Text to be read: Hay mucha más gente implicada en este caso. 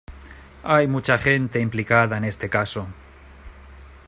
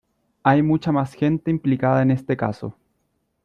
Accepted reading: second